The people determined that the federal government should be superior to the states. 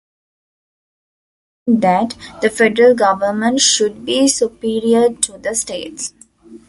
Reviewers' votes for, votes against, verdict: 0, 2, rejected